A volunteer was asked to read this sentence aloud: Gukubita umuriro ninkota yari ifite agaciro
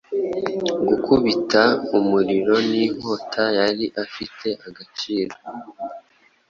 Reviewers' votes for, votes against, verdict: 0, 2, rejected